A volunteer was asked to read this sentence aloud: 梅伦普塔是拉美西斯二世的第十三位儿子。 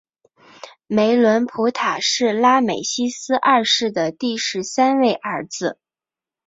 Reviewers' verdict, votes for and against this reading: accepted, 3, 0